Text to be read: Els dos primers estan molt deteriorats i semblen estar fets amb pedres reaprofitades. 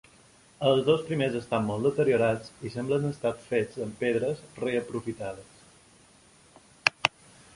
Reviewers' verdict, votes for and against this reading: rejected, 1, 2